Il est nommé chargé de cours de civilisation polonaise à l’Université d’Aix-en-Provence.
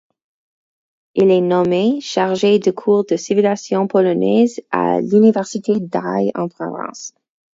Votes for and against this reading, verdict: 2, 4, rejected